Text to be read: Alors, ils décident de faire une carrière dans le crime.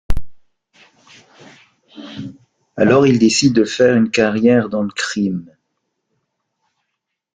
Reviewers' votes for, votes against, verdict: 2, 0, accepted